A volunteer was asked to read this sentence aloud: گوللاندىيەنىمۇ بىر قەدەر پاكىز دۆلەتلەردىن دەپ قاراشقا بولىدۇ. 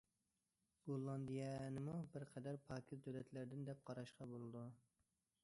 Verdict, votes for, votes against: accepted, 2, 1